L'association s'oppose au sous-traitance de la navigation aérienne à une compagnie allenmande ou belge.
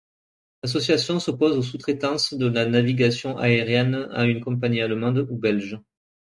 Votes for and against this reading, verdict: 2, 1, accepted